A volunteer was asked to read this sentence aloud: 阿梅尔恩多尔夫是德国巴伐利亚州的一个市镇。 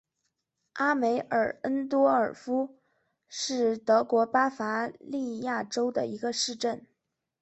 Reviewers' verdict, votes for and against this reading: accepted, 3, 0